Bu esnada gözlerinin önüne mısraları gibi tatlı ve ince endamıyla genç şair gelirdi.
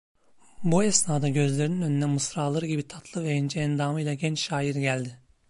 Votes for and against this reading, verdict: 0, 2, rejected